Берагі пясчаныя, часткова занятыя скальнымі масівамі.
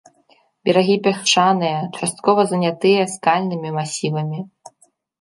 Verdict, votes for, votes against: rejected, 0, 2